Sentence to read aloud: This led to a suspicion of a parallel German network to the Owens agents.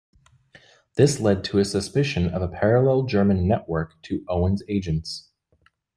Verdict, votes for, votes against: rejected, 1, 2